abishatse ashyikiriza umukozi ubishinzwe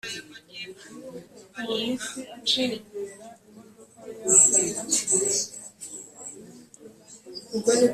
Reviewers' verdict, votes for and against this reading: rejected, 1, 2